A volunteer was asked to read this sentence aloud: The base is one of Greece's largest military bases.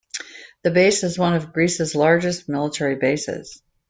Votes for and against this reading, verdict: 2, 0, accepted